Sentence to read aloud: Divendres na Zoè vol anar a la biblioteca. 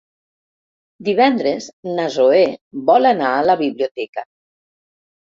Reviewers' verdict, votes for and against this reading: accepted, 2, 0